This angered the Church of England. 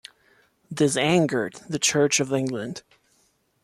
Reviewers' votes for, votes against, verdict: 2, 0, accepted